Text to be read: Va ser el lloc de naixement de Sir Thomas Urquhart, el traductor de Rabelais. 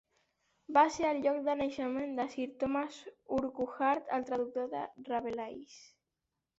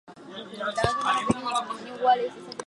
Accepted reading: first